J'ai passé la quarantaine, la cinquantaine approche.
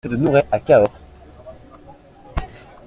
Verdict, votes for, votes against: rejected, 0, 2